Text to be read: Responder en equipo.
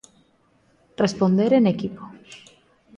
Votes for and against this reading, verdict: 2, 0, accepted